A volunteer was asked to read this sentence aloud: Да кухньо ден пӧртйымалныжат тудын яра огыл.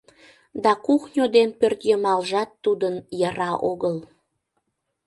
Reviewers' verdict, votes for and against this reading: rejected, 0, 2